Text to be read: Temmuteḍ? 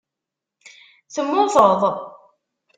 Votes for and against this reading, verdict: 2, 0, accepted